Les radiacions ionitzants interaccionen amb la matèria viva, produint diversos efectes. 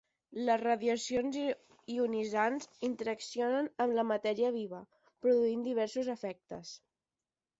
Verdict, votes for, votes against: rejected, 0, 15